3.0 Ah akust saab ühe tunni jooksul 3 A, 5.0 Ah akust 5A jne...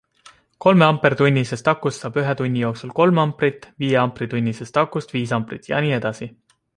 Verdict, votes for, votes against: rejected, 0, 2